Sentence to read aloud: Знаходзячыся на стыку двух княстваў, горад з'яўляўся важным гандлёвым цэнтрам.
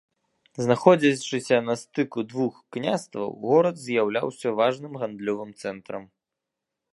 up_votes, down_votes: 1, 2